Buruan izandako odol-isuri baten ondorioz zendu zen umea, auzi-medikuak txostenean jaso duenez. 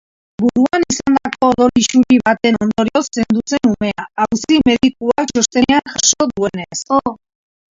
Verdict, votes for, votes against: rejected, 0, 2